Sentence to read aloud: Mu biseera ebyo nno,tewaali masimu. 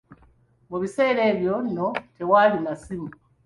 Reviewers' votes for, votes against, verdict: 3, 0, accepted